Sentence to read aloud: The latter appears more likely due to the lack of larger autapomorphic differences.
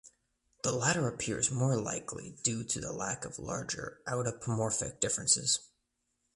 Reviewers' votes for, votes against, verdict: 2, 0, accepted